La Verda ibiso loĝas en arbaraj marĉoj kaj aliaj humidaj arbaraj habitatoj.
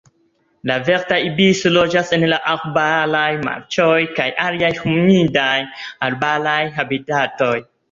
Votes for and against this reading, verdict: 1, 2, rejected